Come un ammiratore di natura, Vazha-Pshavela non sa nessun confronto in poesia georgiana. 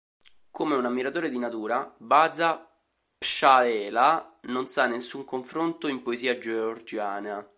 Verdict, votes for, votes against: rejected, 1, 2